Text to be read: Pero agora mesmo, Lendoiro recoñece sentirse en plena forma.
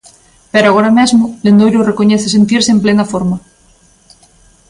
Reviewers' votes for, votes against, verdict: 3, 0, accepted